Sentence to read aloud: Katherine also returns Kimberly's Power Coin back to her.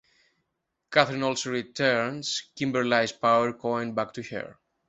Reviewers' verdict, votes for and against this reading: accepted, 2, 1